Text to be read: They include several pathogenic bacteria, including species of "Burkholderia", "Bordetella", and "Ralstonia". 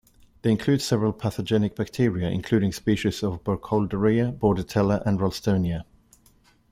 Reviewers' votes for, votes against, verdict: 2, 0, accepted